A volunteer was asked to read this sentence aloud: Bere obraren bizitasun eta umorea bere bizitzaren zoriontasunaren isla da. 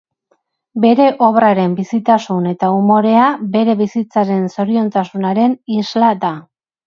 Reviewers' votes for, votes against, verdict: 4, 0, accepted